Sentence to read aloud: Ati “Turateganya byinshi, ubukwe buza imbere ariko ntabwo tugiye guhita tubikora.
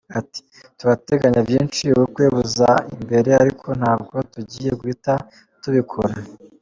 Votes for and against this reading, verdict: 2, 0, accepted